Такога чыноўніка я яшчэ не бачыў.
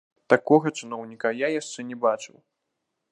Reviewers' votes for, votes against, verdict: 1, 2, rejected